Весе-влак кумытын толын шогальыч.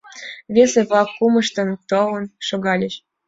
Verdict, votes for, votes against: rejected, 0, 2